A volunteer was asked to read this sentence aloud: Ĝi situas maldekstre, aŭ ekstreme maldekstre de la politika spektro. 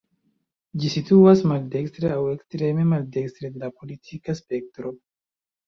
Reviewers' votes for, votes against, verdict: 2, 1, accepted